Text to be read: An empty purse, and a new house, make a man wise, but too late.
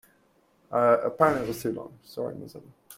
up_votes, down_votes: 0, 2